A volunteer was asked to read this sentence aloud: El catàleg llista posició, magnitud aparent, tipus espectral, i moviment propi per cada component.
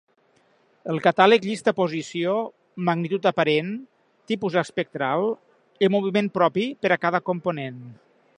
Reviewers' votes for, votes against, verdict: 1, 2, rejected